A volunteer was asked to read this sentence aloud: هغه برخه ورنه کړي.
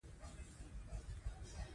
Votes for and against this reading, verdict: 0, 2, rejected